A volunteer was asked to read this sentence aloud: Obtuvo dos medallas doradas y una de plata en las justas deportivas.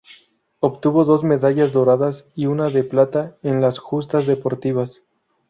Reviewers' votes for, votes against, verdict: 2, 0, accepted